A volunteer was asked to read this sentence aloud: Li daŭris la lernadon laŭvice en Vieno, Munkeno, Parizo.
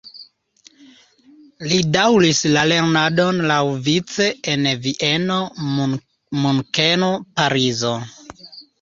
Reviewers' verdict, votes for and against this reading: accepted, 2, 0